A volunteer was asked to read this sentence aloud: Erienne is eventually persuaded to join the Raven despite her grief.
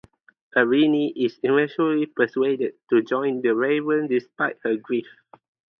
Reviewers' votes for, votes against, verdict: 4, 0, accepted